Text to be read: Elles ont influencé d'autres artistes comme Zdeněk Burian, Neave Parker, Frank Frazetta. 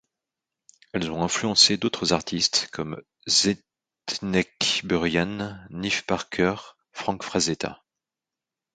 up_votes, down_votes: 0, 2